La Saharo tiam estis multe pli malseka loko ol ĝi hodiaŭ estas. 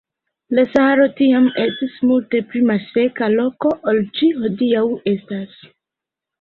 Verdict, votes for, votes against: rejected, 0, 2